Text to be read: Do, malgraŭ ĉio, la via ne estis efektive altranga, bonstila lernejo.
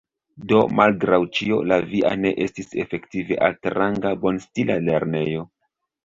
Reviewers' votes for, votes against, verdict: 0, 2, rejected